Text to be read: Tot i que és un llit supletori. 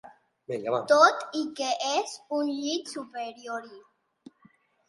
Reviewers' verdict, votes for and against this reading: rejected, 0, 2